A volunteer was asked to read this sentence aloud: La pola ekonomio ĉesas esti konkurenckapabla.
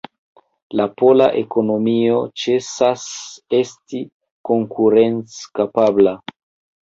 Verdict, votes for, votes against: rejected, 0, 2